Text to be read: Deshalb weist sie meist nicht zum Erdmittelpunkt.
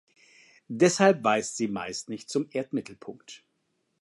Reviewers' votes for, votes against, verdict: 2, 0, accepted